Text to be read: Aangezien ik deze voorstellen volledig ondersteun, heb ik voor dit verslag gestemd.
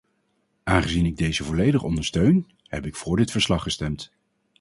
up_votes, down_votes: 0, 4